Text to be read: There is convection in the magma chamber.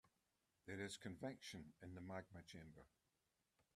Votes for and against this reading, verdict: 2, 0, accepted